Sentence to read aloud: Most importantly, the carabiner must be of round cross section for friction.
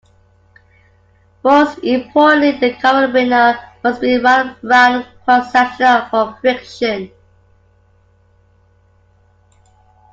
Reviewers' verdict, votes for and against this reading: rejected, 0, 2